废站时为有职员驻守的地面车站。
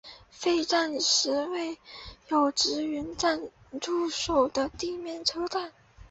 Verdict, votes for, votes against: rejected, 2, 3